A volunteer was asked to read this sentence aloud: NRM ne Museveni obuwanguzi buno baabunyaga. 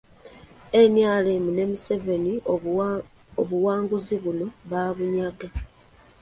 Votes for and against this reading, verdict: 1, 2, rejected